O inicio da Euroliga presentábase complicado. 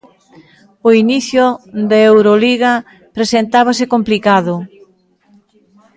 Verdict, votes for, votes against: accepted, 2, 0